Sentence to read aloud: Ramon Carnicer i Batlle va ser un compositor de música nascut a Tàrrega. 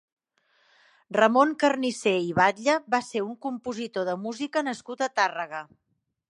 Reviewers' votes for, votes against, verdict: 4, 0, accepted